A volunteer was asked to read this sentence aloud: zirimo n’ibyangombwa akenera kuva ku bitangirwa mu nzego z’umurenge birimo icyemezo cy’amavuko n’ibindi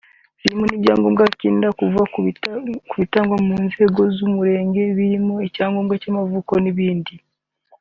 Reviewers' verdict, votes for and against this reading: rejected, 0, 2